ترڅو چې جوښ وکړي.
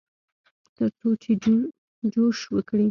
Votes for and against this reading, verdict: 0, 2, rejected